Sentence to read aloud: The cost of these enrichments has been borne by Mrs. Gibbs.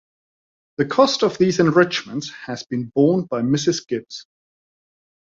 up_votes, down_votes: 2, 0